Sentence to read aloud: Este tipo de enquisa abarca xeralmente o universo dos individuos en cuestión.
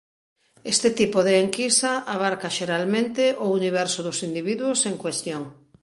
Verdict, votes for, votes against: accepted, 2, 0